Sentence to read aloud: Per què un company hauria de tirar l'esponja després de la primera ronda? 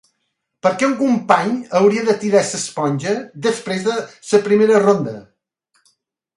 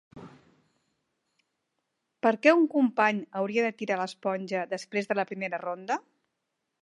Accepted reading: second